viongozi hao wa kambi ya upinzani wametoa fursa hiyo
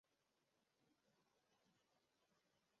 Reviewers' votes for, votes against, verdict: 0, 2, rejected